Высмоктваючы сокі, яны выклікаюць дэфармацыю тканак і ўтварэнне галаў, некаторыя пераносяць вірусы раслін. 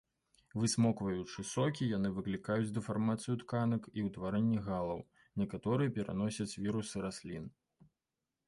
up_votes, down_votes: 0, 2